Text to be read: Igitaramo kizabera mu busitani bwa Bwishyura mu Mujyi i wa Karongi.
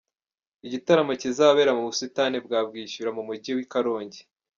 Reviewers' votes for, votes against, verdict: 1, 2, rejected